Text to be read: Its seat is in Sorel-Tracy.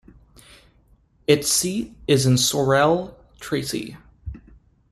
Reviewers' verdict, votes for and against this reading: rejected, 1, 2